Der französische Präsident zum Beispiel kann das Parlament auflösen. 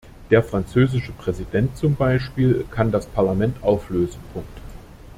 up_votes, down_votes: 1, 2